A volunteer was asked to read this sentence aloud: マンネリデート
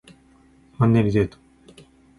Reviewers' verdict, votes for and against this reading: accepted, 2, 0